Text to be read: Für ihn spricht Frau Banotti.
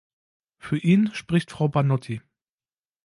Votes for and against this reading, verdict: 2, 0, accepted